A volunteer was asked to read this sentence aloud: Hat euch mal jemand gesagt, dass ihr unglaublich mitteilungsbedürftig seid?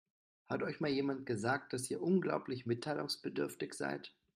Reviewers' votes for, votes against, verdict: 2, 0, accepted